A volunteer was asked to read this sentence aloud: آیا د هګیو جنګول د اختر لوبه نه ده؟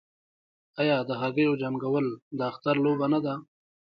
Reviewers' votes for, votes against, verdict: 0, 2, rejected